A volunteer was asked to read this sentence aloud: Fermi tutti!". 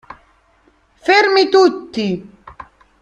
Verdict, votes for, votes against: accepted, 2, 0